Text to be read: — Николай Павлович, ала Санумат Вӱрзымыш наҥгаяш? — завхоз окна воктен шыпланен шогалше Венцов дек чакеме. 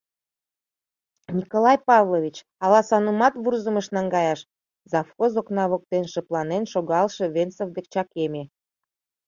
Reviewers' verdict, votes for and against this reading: rejected, 1, 2